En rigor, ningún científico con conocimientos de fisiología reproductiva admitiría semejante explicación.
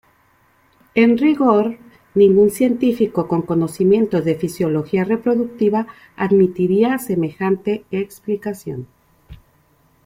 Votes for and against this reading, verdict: 2, 0, accepted